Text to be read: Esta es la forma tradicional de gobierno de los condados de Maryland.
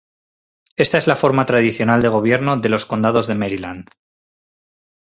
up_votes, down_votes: 4, 0